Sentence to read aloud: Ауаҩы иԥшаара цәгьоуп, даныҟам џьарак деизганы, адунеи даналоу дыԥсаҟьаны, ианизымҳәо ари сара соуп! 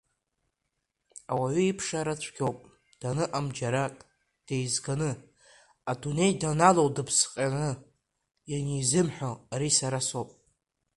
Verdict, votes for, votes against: rejected, 1, 2